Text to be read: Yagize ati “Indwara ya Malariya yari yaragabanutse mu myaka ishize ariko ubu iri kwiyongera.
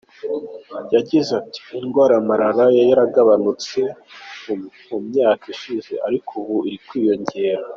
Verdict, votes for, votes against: rejected, 1, 3